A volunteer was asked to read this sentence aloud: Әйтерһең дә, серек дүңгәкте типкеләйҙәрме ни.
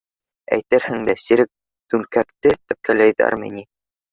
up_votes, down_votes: 0, 2